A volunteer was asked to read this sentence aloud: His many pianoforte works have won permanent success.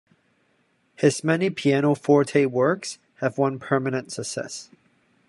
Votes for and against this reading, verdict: 1, 2, rejected